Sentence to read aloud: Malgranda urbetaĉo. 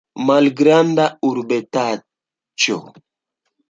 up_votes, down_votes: 2, 0